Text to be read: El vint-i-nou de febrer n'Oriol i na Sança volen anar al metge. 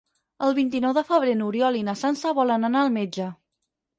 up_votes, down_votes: 4, 0